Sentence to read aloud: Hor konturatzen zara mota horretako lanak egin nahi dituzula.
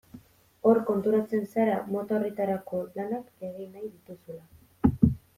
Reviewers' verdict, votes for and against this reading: rejected, 0, 2